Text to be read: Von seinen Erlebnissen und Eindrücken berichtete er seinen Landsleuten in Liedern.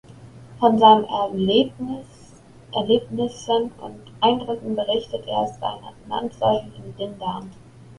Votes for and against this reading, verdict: 0, 2, rejected